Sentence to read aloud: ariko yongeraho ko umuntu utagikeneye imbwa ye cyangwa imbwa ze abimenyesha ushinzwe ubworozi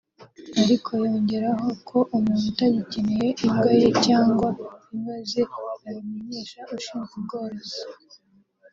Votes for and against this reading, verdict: 2, 0, accepted